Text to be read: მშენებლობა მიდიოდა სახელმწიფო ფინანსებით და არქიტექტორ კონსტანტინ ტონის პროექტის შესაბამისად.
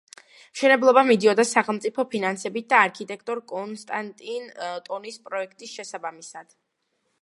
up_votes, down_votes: 2, 0